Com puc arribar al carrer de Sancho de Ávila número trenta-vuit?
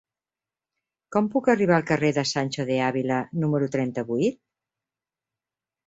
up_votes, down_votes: 5, 0